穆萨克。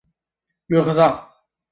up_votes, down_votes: 0, 2